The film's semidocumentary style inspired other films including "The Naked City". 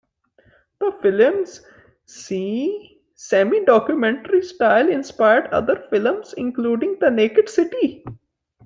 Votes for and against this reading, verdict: 0, 2, rejected